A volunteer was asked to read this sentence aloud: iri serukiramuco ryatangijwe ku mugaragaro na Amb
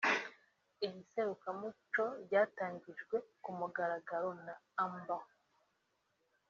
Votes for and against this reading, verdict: 2, 0, accepted